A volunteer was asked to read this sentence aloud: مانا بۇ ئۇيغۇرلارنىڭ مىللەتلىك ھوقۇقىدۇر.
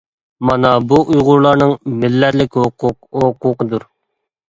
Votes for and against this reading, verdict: 0, 2, rejected